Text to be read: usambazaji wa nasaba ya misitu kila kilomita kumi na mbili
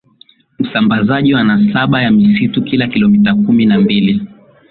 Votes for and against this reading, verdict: 3, 0, accepted